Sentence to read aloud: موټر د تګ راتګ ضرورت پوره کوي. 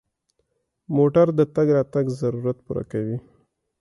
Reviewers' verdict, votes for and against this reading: accepted, 2, 0